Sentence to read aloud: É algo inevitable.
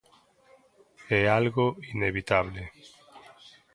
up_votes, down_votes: 1, 2